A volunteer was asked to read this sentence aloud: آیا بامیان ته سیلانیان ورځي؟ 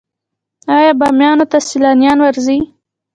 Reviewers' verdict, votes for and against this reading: accepted, 3, 0